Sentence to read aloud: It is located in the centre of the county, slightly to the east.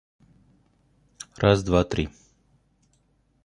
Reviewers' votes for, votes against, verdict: 1, 2, rejected